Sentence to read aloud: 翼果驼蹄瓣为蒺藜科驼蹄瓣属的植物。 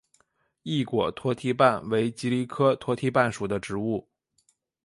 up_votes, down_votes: 3, 0